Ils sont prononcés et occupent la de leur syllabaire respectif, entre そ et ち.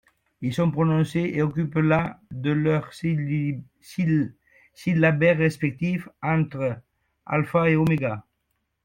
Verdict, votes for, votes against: rejected, 0, 2